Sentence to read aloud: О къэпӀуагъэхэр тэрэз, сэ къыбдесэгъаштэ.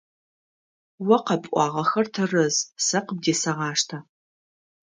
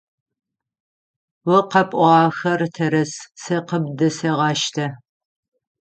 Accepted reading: first